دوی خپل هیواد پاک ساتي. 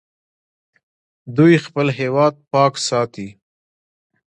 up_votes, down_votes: 2, 1